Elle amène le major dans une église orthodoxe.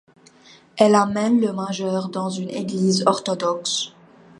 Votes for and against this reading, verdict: 2, 1, accepted